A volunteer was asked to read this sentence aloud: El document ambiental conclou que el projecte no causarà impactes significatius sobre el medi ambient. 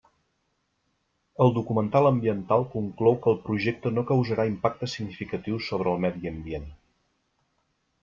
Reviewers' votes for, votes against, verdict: 1, 2, rejected